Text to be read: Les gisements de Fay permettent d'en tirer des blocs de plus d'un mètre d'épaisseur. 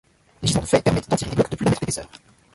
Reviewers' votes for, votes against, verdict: 0, 2, rejected